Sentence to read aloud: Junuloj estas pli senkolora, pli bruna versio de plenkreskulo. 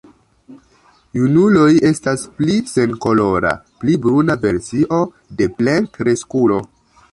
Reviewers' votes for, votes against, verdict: 1, 2, rejected